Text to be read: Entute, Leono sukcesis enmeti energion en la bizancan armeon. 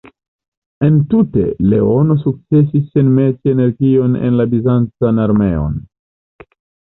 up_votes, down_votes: 2, 0